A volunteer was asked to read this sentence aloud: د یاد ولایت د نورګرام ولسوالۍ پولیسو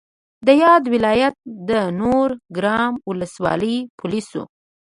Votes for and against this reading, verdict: 2, 0, accepted